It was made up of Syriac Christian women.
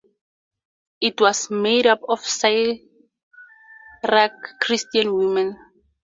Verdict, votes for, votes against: rejected, 2, 2